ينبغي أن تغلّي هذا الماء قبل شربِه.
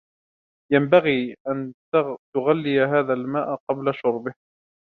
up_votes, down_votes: 2, 0